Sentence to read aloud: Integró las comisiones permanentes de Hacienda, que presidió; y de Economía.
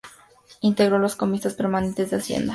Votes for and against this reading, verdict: 0, 2, rejected